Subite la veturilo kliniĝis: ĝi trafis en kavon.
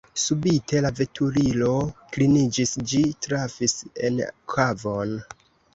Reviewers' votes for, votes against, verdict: 2, 1, accepted